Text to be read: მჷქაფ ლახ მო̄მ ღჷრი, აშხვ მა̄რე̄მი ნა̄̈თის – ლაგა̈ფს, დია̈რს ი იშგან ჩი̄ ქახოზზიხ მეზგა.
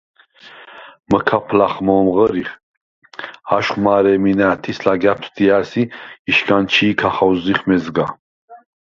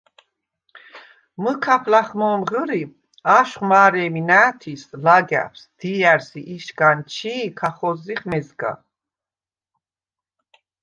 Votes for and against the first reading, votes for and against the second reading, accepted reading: 2, 4, 2, 0, second